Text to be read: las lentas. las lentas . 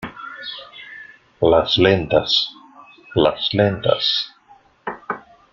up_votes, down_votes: 2, 1